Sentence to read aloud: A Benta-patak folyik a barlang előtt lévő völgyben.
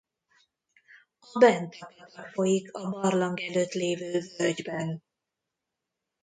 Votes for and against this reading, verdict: 1, 2, rejected